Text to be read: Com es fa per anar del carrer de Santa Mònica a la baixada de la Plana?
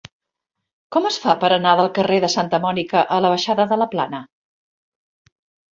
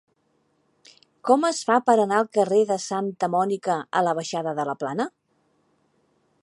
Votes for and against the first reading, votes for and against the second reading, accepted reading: 5, 0, 0, 2, first